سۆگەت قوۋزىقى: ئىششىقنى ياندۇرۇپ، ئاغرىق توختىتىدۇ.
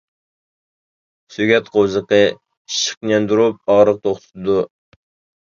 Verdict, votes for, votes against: rejected, 0, 2